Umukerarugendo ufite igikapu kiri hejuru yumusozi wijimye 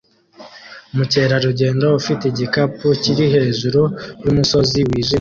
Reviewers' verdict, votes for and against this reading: rejected, 1, 2